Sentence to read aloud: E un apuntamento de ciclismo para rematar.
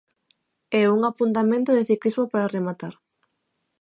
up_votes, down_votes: 0, 3